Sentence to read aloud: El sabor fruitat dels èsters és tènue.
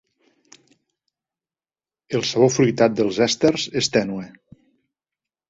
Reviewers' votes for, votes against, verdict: 2, 0, accepted